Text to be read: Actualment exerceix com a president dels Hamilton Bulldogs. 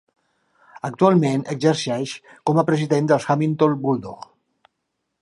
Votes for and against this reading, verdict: 1, 2, rejected